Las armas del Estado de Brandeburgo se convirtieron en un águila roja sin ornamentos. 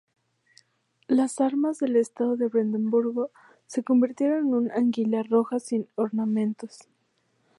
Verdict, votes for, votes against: accepted, 2, 0